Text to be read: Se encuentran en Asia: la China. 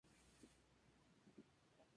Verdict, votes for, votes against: accepted, 2, 0